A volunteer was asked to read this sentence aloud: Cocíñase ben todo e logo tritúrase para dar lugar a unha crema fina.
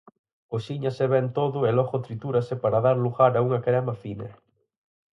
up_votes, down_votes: 6, 2